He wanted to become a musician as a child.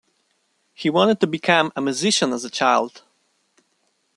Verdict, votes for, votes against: accepted, 2, 0